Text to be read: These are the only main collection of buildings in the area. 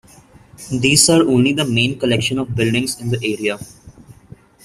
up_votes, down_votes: 0, 2